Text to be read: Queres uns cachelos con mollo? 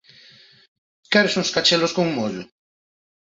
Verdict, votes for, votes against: accepted, 2, 0